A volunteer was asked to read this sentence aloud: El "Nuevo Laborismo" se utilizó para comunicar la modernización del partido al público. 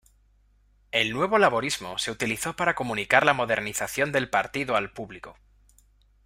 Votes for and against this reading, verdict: 2, 0, accepted